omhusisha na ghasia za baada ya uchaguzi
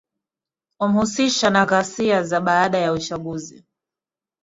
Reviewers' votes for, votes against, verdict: 2, 1, accepted